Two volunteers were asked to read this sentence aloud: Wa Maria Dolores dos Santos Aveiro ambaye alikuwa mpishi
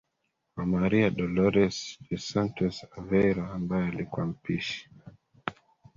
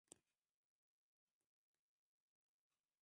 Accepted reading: first